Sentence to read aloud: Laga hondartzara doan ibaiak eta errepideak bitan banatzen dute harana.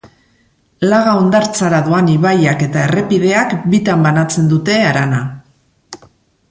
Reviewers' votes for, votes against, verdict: 5, 0, accepted